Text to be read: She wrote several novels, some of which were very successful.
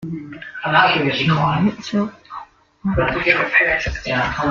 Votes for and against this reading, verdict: 0, 2, rejected